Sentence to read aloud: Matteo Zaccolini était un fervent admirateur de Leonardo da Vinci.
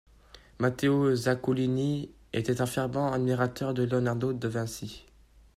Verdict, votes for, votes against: rejected, 1, 2